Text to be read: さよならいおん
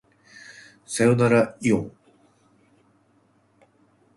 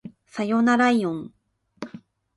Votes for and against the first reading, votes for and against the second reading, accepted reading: 1, 2, 2, 0, second